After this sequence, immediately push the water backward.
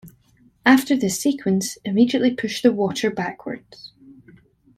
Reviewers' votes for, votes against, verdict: 0, 2, rejected